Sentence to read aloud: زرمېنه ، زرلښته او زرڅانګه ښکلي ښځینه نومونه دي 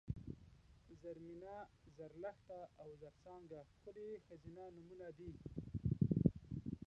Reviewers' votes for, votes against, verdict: 1, 3, rejected